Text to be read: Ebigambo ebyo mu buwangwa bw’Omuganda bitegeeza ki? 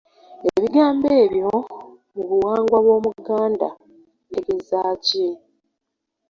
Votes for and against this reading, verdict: 2, 1, accepted